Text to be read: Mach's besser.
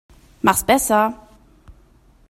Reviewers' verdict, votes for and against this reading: accepted, 2, 0